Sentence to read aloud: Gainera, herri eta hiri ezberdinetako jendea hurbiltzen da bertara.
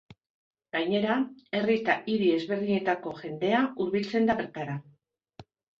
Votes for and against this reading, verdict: 1, 2, rejected